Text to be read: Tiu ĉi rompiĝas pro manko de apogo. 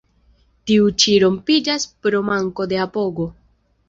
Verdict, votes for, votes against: accepted, 2, 0